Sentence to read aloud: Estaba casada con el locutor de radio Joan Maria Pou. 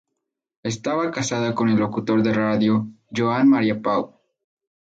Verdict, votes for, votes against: accepted, 4, 0